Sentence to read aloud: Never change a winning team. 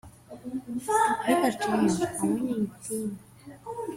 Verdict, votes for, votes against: accepted, 2, 0